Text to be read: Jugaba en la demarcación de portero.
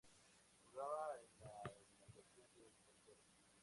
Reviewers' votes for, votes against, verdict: 0, 2, rejected